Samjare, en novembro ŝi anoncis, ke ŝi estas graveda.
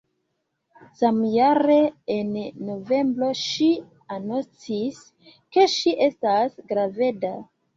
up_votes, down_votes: 3, 0